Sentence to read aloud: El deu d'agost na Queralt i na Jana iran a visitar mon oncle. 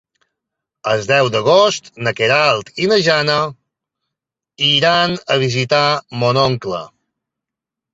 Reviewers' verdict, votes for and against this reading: accepted, 2, 0